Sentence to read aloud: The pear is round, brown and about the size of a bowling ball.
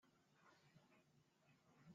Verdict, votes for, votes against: rejected, 0, 2